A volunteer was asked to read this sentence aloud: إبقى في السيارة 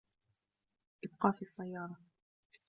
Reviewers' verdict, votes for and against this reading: rejected, 1, 2